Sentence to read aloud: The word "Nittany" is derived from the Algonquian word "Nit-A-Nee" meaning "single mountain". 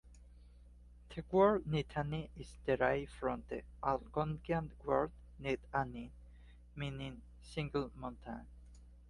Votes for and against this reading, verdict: 2, 0, accepted